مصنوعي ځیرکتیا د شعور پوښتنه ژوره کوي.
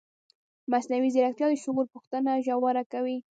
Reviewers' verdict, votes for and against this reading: rejected, 1, 2